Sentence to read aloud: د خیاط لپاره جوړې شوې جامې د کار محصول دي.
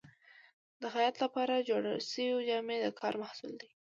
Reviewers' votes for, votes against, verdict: 2, 0, accepted